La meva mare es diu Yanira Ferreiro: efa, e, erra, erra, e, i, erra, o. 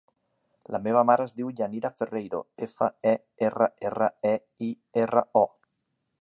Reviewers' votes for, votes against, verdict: 3, 0, accepted